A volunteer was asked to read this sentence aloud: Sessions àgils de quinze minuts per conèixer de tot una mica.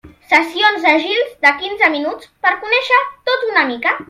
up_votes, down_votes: 1, 2